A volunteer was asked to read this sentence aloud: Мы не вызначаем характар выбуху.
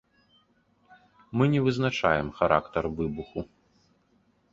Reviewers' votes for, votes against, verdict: 2, 0, accepted